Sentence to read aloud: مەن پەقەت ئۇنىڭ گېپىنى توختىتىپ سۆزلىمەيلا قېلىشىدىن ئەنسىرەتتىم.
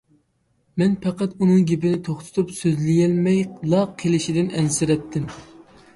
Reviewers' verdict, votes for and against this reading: rejected, 0, 2